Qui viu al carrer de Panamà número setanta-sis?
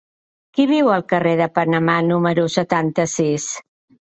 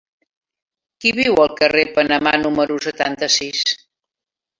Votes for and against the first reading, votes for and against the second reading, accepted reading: 3, 0, 1, 2, first